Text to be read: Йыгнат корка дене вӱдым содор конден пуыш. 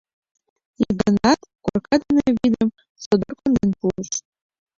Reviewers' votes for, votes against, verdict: 0, 3, rejected